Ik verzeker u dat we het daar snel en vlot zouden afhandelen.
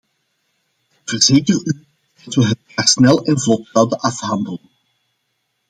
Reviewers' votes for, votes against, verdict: 0, 2, rejected